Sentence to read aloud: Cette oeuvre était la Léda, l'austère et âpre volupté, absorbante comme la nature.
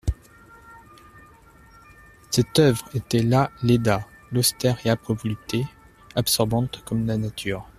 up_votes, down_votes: 2, 0